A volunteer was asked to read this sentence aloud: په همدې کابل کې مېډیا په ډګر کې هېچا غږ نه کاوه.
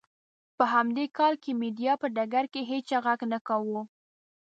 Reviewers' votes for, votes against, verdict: 0, 2, rejected